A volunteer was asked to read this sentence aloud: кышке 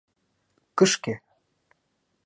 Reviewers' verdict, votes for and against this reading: accepted, 2, 0